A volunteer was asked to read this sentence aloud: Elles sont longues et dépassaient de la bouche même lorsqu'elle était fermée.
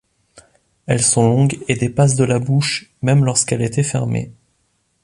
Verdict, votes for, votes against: rejected, 1, 2